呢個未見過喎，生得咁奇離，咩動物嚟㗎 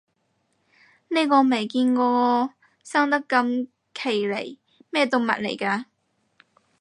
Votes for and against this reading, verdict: 4, 0, accepted